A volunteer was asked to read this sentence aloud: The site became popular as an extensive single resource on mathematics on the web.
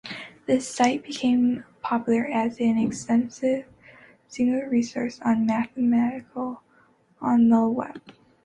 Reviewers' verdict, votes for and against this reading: rejected, 1, 2